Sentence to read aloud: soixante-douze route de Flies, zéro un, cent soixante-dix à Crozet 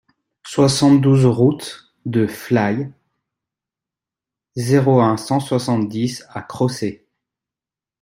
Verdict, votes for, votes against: rejected, 0, 2